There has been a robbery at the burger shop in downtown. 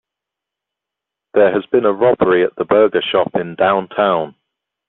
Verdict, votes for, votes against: accepted, 2, 0